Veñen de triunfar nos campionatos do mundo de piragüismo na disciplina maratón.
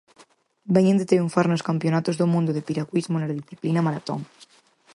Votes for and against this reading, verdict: 0, 4, rejected